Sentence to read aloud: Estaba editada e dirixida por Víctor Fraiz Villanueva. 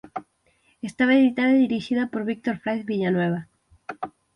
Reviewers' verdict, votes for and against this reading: accepted, 6, 0